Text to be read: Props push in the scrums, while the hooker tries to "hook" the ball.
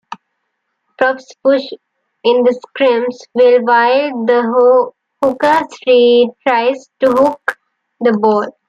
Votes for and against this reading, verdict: 2, 0, accepted